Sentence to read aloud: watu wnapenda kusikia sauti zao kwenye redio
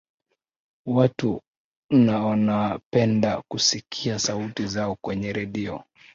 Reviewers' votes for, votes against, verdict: 1, 2, rejected